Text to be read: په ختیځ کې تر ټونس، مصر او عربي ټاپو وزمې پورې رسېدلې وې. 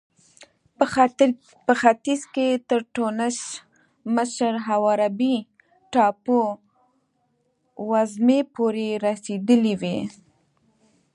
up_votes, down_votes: 0, 2